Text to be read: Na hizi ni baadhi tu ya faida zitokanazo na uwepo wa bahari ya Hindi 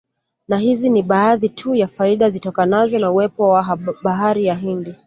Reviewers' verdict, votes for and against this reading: rejected, 0, 2